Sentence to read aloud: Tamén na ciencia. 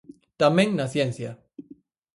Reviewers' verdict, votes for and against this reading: accepted, 4, 0